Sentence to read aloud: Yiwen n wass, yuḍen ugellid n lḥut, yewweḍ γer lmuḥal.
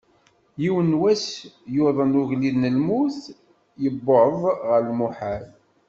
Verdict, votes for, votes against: rejected, 1, 2